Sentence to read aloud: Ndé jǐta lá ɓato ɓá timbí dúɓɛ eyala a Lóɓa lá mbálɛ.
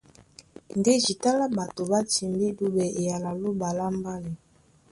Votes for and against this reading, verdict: 2, 0, accepted